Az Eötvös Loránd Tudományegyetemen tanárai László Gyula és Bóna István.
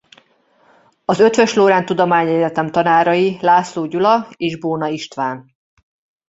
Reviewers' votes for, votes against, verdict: 1, 2, rejected